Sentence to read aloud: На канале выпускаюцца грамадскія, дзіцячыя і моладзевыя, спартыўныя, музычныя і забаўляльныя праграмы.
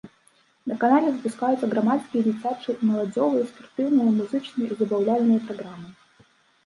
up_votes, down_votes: 0, 2